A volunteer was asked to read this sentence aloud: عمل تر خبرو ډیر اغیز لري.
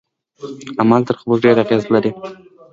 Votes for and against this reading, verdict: 2, 3, rejected